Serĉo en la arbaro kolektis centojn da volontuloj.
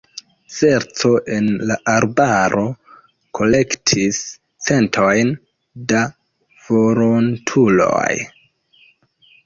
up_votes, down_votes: 1, 2